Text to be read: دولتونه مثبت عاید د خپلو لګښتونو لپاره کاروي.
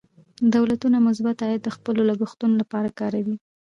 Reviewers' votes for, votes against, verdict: 2, 1, accepted